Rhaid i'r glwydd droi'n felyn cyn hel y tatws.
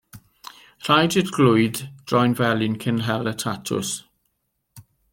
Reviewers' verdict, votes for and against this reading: rejected, 1, 2